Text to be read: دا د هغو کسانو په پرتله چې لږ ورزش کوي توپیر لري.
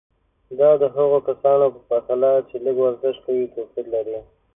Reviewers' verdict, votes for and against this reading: accepted, 3, 0